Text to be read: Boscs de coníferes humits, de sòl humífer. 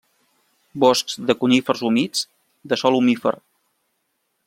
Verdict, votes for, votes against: rejected, 0, 2